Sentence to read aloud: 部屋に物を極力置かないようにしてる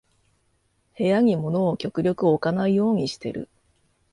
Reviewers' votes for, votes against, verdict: 2, 0, accepted